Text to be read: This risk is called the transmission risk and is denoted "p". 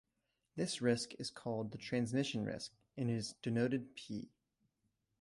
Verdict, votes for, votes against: accepted, 2, 0